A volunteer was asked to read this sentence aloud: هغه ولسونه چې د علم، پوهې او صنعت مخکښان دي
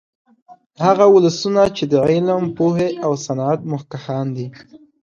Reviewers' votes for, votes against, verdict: 2, 0, accepted